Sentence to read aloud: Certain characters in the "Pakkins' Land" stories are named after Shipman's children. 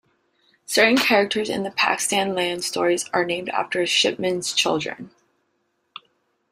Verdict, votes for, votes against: accepted, 3, 2